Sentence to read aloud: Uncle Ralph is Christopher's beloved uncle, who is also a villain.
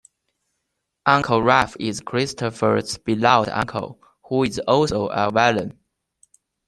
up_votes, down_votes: 2, 0